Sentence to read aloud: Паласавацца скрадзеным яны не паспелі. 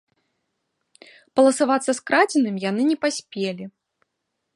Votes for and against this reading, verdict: 2, 1, accepted